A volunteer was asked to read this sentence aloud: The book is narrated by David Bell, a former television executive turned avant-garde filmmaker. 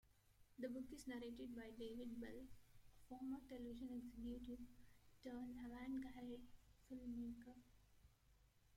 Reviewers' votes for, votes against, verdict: 1, 2, rejected